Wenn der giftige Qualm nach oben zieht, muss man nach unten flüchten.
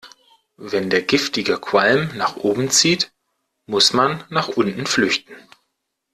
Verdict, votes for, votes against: accepted, 2, 0